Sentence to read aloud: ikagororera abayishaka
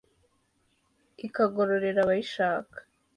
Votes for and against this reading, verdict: 2, 0, accepted